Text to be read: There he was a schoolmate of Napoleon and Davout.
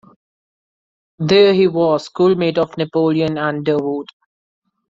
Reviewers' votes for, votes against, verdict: 0, 2, rejected